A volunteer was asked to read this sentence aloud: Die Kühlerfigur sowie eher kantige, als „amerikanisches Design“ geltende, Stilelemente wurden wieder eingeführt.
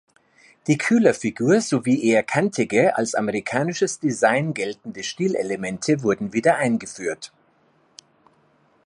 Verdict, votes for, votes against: accepted, 2, 0